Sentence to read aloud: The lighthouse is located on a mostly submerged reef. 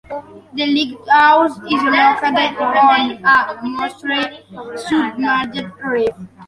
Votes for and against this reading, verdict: 0, 2, rejected